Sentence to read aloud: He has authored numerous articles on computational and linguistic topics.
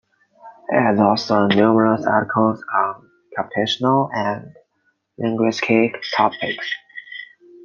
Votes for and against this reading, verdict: 1, 2, rejected